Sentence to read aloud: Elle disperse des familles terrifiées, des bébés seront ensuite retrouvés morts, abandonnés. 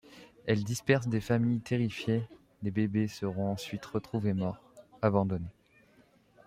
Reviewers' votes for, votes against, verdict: 1, 2, rejected